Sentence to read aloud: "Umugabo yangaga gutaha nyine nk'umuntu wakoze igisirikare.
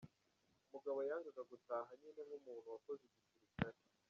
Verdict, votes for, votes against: rejected, 0, 2